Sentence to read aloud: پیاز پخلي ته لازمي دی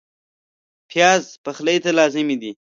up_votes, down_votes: 2, 0